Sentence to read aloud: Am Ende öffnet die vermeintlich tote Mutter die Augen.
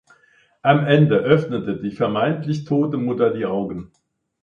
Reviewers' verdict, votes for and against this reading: rejected, 0, 2